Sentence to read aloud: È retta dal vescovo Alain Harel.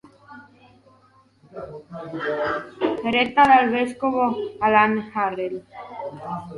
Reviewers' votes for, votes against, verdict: 1, 2, rejected